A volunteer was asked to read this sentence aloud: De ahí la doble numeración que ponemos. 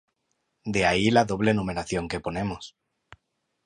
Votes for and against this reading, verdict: 2, 0, accepted